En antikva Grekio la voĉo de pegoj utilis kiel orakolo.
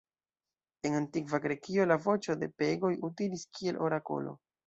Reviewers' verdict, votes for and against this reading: rejected, 0, 2